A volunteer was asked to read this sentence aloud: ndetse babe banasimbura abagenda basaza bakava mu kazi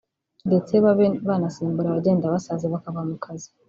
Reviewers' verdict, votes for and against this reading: rejected, 1, 2